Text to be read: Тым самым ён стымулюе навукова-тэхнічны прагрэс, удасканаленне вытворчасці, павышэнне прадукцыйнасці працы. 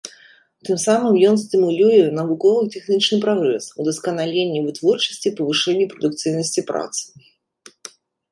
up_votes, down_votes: 0, 2